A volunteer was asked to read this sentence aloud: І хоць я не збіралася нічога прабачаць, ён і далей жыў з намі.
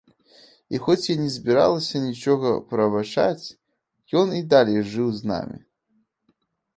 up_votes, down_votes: 0, 2